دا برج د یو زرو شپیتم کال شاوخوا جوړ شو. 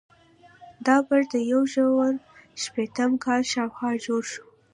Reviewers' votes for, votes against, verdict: 2, 0, accepted